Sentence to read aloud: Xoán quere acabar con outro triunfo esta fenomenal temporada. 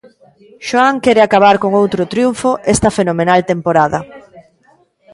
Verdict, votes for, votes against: rejected, 0, 2